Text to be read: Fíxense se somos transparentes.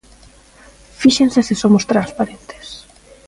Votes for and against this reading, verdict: 2, 0, accepted